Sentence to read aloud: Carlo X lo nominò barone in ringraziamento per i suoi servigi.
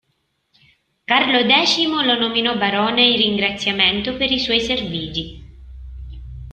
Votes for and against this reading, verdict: 1, 2, rejected